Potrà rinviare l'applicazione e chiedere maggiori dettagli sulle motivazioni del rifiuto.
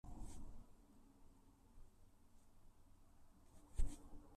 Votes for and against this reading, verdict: 0, 2, rejected